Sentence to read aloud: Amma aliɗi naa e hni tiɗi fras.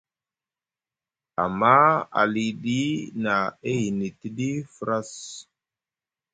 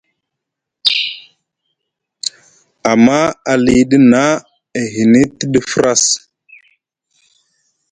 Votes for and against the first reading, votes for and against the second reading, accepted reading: 0, 2, 2, 0, second